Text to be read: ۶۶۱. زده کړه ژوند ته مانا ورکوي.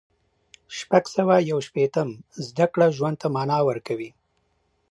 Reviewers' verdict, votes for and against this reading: rejected, 0, 2